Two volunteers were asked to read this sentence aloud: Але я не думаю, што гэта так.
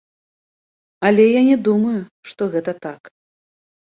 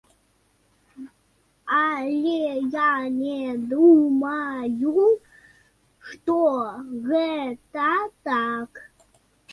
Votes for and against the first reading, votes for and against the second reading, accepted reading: 2, 0, 0, 2, first